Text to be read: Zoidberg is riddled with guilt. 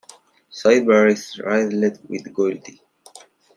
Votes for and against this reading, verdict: 0, 2, rejected